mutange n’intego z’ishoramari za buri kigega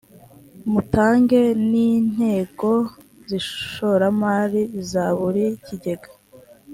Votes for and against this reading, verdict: 2, 0, accepted